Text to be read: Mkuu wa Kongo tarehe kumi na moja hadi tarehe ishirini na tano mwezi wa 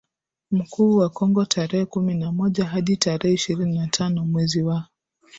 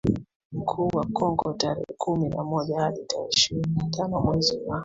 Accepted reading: first